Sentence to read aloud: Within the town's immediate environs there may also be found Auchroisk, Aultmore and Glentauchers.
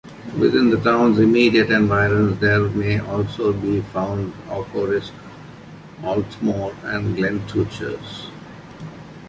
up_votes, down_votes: 0, 2